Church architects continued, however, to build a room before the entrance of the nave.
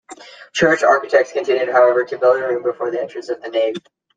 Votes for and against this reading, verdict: 2, 0, accepted